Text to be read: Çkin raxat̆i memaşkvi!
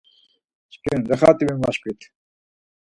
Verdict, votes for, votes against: rejected, 2, 4